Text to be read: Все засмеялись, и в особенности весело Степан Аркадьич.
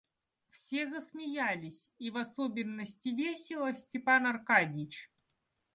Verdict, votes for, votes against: accepted, 2, 0